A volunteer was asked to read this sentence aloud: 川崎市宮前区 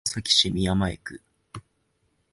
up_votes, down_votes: 4, 5